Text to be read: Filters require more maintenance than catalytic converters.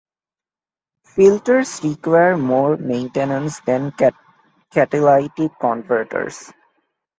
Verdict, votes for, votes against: rejected, 0, 2